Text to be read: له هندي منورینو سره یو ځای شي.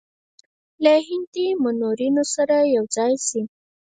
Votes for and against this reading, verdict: 2, 4, rejected